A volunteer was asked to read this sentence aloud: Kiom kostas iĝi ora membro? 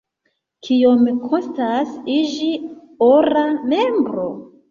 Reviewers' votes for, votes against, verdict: 2, 0, accepted